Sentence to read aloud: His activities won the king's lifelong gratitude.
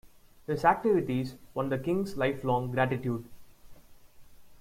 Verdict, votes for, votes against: accepted, 2, 0